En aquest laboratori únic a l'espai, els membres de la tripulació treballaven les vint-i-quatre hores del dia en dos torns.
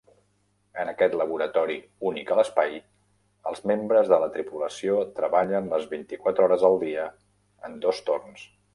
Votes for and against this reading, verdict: 0, 2, rejected